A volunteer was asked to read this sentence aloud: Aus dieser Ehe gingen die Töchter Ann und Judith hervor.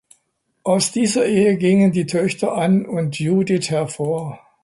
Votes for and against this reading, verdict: 2, 0, accepted